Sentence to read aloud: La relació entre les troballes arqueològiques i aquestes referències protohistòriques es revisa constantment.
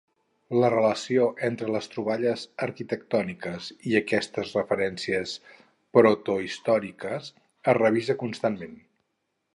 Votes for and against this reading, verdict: 2, 4, rejected